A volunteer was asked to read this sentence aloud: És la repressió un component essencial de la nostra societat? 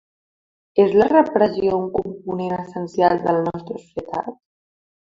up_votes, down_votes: 2, 3